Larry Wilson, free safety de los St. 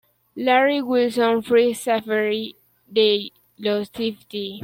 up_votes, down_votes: 0, 2